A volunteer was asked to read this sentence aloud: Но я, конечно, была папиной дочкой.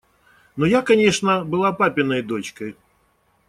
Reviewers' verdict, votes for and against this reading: accepted, 2, 0